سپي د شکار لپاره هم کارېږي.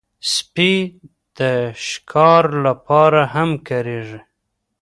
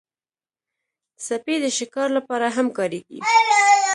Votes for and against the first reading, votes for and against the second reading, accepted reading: 1, 2, 2, 1, second